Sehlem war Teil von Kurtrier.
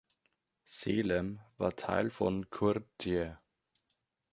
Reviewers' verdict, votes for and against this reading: rejected, 1, 2